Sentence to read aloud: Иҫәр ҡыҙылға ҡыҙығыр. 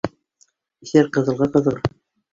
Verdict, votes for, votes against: rejected, 1, 2